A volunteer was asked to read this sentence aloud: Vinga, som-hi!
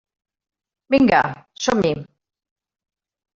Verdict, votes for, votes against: accepted, 3, 0